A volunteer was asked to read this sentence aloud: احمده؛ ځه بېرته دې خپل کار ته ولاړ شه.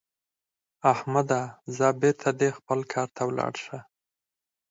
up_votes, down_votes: 4, 0